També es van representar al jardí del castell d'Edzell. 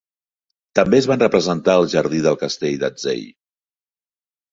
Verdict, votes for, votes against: accepted, 2, 0